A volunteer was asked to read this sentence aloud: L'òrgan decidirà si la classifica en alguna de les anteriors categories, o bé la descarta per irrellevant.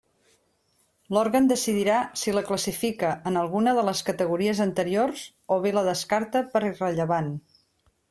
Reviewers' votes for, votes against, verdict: 0, 2, rejected